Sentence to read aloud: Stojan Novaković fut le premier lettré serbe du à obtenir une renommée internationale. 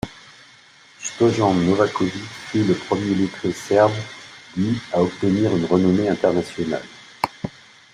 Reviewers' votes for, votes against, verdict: 0, 2, rejected